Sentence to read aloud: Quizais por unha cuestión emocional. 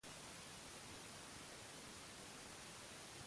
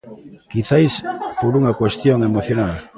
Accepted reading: second